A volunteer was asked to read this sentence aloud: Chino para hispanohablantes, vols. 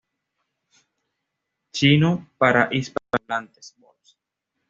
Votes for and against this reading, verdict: 1, 2, rejected